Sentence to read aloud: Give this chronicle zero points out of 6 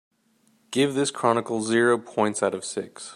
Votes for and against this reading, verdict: 0, 2, rejected